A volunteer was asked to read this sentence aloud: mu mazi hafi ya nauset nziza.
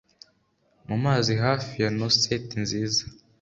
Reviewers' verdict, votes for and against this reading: accepted, 2, 0